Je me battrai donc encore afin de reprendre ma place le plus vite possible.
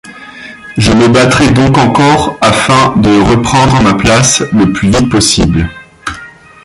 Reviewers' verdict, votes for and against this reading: rejected, 1, 2